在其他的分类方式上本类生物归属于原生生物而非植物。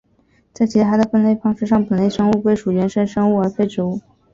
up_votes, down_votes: 2, 0